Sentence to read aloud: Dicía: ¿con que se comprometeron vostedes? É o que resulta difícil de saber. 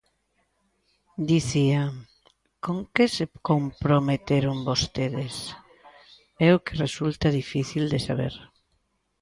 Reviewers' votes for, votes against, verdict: 1, 2, rejected